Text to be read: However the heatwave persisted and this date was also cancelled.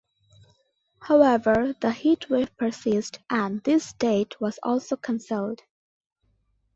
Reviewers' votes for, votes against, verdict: 1, 2, rejected